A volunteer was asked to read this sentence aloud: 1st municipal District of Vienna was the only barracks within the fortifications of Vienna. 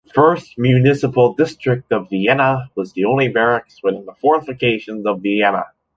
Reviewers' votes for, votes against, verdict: 0, 2, rejected